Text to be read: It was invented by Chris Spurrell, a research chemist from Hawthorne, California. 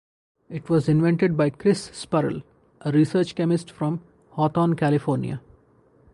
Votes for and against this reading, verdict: 10, 0, accepted